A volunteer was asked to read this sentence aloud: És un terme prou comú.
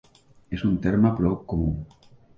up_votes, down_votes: 1, 2